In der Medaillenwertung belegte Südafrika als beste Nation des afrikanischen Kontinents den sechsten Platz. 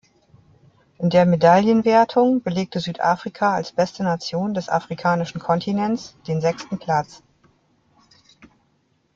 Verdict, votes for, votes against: accepted, 2, 0